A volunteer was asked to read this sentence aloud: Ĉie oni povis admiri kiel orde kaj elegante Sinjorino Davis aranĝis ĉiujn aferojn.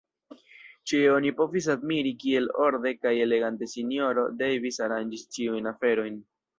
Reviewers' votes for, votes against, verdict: 1, 2, rejected